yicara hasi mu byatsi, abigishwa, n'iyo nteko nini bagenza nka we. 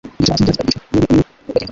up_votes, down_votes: 1, 2